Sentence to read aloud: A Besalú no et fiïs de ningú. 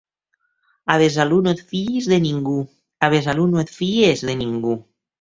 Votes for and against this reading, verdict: 1, 2, rejected